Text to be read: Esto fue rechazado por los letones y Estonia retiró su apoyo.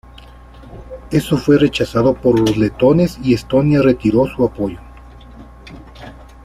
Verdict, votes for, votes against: rejected, 1, 2